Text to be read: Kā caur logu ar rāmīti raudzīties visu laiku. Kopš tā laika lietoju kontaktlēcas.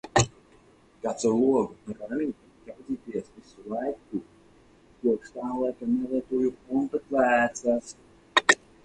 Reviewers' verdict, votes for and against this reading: rejected, 0, 2